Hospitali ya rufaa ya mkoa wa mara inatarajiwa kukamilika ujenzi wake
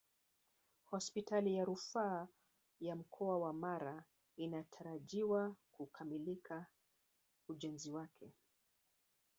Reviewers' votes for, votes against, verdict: 1, 2, rejected